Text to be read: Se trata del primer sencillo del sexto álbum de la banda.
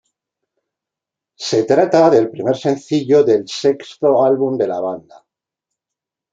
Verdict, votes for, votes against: accepted, 2, 0